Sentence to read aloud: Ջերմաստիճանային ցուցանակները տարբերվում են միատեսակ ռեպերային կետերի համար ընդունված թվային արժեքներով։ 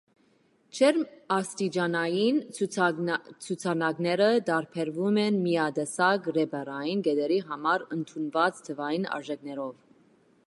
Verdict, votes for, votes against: accepted, 2, 0